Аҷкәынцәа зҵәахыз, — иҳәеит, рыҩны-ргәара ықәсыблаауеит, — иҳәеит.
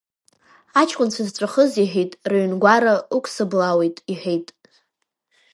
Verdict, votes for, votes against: rejected, 1, 2